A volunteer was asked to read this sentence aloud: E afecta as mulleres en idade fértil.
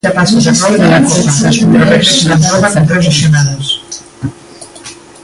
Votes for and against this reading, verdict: 0, 2, rejected